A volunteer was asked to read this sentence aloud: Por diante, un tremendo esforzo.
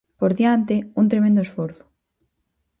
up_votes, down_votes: 4, 0